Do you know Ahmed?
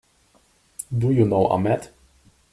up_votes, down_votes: 2, 0